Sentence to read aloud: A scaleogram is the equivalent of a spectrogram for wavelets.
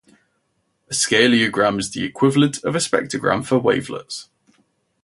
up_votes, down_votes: 0, 2